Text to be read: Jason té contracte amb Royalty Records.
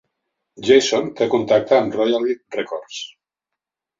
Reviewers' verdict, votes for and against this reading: rejected, 0, 2